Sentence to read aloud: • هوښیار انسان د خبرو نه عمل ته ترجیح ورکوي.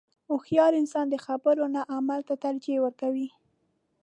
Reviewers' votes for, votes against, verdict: 2, 0, accepted